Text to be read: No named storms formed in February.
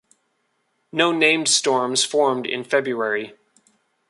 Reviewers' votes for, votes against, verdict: 2, 0, accepted